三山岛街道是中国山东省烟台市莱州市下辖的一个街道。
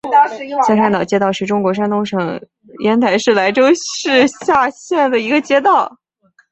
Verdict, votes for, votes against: rejected, 2, 3